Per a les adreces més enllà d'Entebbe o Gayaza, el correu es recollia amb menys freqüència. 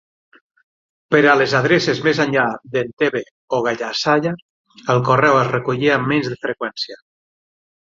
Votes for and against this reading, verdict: 0, 6, rejected